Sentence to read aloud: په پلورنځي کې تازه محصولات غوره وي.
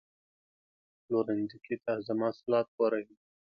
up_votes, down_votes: 0, 2